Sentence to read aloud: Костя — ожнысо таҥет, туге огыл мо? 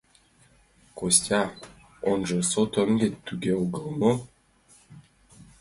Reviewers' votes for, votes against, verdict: 0, 2, rejected